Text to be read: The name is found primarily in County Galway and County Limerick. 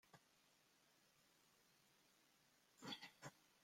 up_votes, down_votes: 0, 2